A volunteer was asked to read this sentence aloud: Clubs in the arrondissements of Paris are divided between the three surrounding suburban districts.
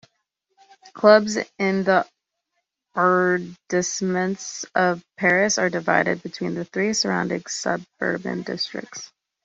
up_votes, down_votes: 1, 2